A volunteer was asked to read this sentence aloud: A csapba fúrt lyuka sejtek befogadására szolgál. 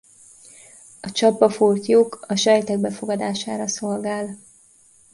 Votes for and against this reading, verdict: 0, 2, rejected